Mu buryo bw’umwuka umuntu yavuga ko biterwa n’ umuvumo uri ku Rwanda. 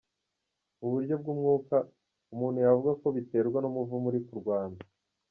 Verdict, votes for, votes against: rejected, 0, 2